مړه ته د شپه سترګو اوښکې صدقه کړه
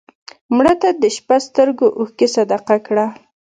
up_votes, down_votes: 2, 1